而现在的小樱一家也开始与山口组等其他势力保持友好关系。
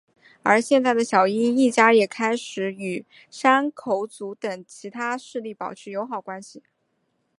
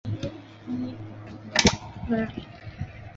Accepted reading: first